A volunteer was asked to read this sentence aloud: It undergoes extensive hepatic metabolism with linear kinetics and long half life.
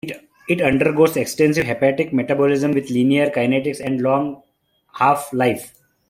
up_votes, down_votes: 2, 1